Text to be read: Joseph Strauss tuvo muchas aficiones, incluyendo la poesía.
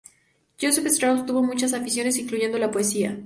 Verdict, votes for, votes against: accepted, 4, 0